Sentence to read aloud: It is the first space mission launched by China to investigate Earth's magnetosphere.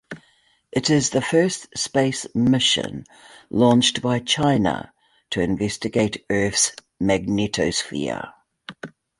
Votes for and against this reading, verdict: 2, 1, accepted